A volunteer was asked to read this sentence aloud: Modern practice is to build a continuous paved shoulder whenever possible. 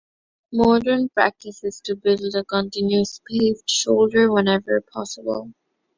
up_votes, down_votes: 2, 0